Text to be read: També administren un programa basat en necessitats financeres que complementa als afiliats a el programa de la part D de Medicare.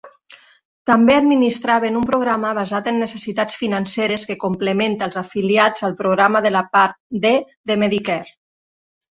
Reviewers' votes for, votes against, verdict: 1, 2, rejected